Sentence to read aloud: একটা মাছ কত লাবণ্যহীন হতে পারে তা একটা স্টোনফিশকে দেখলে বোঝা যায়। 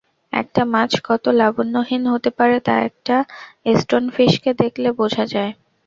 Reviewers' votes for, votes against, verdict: 2, 0, accepted